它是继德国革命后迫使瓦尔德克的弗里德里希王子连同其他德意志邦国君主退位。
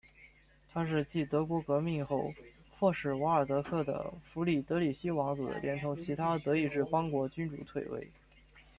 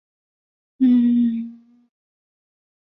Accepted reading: first